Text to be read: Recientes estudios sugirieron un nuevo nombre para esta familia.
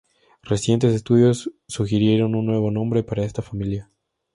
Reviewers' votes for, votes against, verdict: 2, 0, accepted